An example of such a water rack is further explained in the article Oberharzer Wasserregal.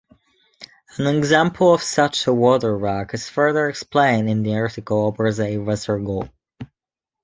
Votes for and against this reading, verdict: 0, 2, rejected